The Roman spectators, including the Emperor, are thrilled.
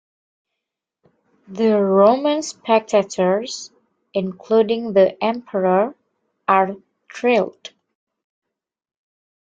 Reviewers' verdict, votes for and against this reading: rejected, 0, 2